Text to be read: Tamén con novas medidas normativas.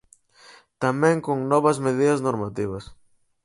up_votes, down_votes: 4, 0